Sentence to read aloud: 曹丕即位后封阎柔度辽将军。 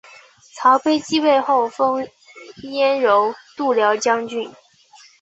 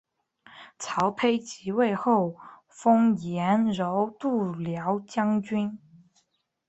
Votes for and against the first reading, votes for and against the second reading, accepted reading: 1, 3, 2, 0, second